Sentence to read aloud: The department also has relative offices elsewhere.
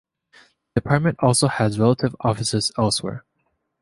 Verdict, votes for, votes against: rejected, 1, 2